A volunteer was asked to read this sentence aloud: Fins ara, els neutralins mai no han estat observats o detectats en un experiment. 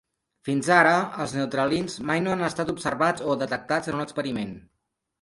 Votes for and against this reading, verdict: 3, 0, accepted